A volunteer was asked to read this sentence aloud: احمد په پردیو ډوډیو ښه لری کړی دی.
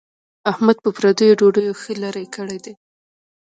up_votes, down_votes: 3, 1